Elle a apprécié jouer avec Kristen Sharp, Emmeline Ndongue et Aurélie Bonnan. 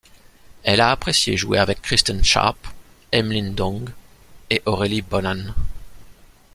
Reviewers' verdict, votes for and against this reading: accepted, 2, 0